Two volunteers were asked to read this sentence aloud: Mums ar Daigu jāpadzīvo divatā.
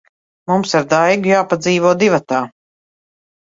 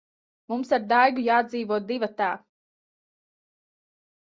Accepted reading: first